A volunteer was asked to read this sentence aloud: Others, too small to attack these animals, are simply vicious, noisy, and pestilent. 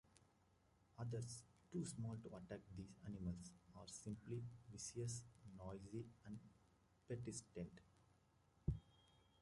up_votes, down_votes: 1, 2